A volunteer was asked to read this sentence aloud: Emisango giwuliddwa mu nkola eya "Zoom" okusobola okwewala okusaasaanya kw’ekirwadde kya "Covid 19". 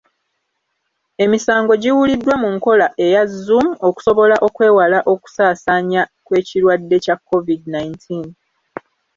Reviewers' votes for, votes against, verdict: 0, 2, rejected